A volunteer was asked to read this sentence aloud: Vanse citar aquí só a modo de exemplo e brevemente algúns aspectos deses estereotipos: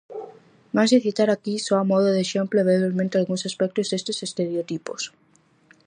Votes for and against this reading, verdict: 0, 4, rejected